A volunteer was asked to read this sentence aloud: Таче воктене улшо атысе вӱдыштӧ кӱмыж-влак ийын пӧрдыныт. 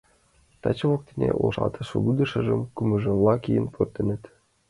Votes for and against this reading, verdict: 1, 2, rejected